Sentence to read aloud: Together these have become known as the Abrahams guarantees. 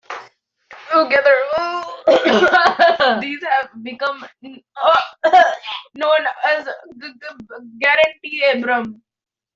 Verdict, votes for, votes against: rejected, 0, 3